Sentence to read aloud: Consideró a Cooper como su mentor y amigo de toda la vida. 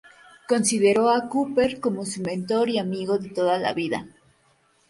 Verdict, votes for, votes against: rejected, 0, 2